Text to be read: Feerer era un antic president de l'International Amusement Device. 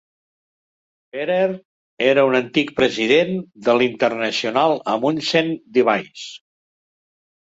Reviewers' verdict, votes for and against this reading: rejected, 1, 2